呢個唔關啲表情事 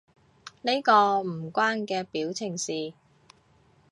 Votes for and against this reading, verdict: 0, 3, rejected